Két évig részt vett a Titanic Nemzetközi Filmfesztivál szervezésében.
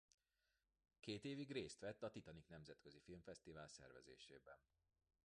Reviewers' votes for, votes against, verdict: 1, 2, rejected